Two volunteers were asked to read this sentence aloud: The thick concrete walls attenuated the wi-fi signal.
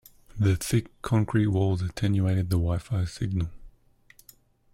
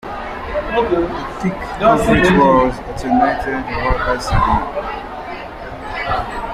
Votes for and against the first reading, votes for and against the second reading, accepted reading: 2, 0, 1, 3, first